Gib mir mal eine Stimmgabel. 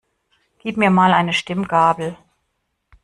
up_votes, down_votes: 2, 0